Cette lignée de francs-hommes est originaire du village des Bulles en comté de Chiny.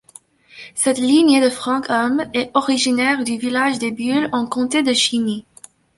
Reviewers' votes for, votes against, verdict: 2, 1, accepted